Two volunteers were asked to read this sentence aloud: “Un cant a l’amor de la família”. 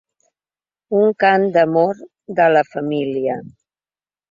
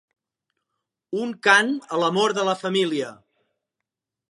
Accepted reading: second